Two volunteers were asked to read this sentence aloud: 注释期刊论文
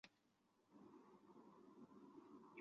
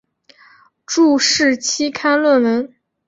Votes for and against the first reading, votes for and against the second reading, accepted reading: 1, 2, 2, 1, second